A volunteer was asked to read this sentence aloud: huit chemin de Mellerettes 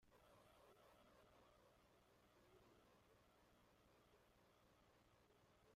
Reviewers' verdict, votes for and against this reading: rejected, 0, 2